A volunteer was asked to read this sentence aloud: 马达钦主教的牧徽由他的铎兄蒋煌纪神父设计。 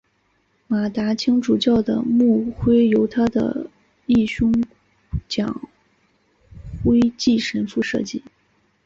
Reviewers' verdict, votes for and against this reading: rejected, 0, 4